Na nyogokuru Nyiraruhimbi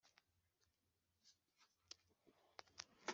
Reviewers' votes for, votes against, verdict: 2, 0, accepted